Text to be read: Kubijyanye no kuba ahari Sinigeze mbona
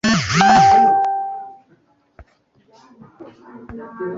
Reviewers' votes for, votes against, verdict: 0, 2, rejected